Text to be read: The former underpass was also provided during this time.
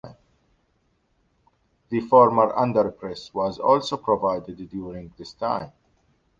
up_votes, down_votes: 2, 0